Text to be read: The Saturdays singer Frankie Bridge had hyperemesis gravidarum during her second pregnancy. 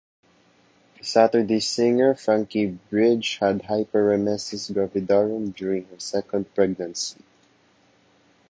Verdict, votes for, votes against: rejected, 1, 2